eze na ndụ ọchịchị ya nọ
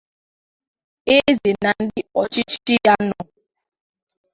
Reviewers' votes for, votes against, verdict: 1, 2, rejected